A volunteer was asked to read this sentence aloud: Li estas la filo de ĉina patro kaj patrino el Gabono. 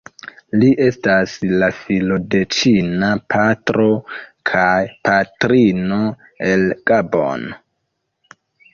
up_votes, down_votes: 0, 2